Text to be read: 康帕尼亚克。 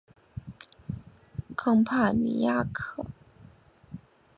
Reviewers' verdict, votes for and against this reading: accepted, 4, 1